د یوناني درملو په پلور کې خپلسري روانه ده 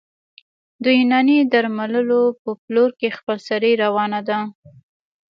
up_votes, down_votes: 1, 2